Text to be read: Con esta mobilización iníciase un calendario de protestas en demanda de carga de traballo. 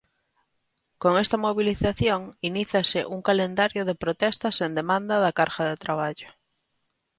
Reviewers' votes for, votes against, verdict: 0, 2, rejected